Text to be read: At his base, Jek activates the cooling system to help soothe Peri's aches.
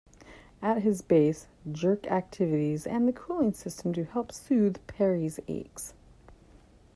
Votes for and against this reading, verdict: 1, 2, rejected